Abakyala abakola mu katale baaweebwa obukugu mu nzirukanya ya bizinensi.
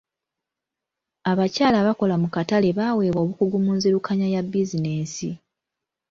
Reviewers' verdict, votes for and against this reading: accepted, 2, 0